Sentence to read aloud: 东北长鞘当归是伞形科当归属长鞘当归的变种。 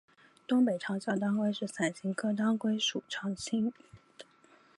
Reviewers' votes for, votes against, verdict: 0, 2, rejected